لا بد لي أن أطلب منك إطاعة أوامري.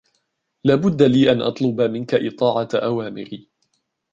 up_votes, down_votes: 2, 0